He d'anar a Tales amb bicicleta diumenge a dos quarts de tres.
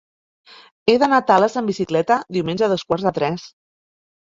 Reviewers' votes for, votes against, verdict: 2, 0, accepted